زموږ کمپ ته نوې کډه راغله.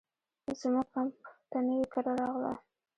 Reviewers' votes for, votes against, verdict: 1, 2, rejected